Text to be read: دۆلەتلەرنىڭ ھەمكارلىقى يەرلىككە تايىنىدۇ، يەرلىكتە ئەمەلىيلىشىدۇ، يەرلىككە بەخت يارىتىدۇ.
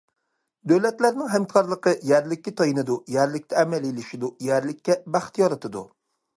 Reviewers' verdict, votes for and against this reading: accepted, 2, 0